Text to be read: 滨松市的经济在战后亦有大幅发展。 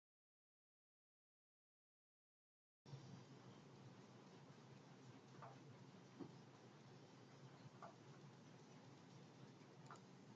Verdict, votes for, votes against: rejected, 0, 2